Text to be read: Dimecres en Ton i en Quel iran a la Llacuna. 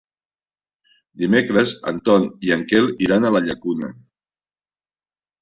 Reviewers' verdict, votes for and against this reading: accepted, 3, 0